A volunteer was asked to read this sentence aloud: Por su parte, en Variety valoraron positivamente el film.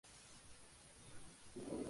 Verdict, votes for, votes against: rejected, 0, 2